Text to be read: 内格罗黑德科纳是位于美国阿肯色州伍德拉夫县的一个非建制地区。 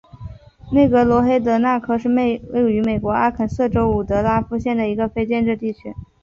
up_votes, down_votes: 2, 1